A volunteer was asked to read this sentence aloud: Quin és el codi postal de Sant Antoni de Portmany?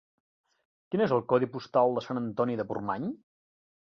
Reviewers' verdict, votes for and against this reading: accepted, 3, 0